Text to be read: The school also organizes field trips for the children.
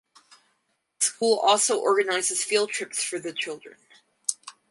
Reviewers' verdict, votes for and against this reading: rejected, 2, 2